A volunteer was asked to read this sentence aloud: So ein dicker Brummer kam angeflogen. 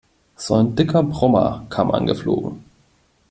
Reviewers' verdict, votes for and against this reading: accepted, 2, 0